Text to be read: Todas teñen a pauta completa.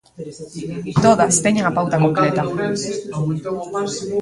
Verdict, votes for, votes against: rejected, 0, 2